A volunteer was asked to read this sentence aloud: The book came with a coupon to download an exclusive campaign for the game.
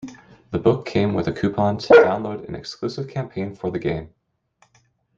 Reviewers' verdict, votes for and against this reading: rejected, 0, 2